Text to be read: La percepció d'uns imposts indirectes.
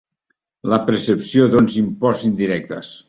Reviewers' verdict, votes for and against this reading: accepted, 2, 0